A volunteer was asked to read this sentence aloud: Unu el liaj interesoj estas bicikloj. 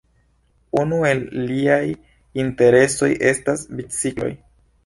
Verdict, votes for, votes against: accepted, 2, 1